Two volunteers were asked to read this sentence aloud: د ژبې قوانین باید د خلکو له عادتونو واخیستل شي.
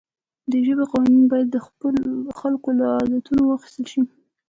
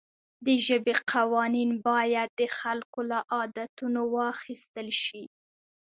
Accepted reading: second